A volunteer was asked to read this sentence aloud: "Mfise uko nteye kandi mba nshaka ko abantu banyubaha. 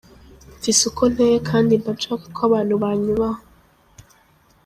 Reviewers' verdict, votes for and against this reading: rejected, 0, 2